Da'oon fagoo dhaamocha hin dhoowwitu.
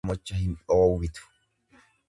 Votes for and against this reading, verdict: 0, 2, rejected